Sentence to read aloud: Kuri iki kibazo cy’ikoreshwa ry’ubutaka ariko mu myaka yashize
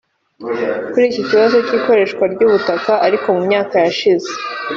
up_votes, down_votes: 2, 0